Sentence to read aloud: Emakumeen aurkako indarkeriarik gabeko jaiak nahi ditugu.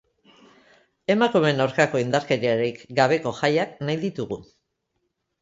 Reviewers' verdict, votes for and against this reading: accepted, 2, 0